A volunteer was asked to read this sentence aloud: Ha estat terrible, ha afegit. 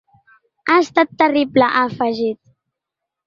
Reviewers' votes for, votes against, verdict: 4, 0, accepted